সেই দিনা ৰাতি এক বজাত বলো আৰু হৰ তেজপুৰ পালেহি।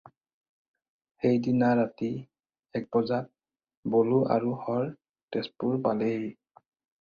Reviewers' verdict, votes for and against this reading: accepted, 4, 0